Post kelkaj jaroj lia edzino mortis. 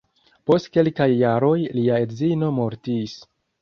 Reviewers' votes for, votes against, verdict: 2, 0, accepted